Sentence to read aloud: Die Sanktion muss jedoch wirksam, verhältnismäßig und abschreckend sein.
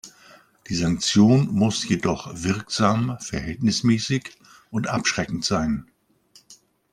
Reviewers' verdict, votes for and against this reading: accepted, 2, 0